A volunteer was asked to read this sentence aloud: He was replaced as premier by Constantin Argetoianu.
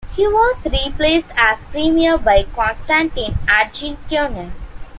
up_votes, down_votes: 2, 1